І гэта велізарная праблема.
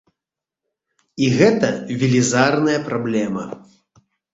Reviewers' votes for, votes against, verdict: 2, 0, accepted